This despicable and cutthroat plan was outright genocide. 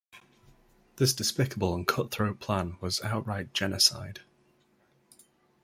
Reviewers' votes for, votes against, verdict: 2, 0, accepted